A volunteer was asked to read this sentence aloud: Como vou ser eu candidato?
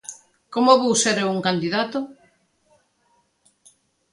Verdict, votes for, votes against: rejected, 0, 2